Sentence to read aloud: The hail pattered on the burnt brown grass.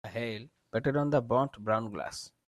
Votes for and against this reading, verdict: 1, 2, rejected